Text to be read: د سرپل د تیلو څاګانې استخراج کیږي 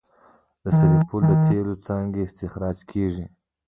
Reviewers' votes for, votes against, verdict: 1, 2, rejected